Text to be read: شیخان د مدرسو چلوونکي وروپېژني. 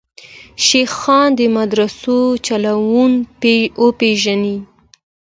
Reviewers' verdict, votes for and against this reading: accepted, 2, 0